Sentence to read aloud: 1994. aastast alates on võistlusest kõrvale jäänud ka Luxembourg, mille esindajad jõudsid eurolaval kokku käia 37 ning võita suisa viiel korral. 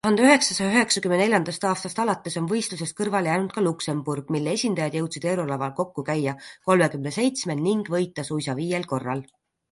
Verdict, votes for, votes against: rejected, 0, 2